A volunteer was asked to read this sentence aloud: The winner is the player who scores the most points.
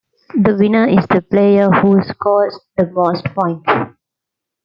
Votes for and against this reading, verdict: 0, 2, rejected